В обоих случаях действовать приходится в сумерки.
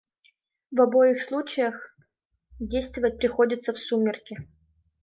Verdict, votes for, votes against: rejected, 0, 2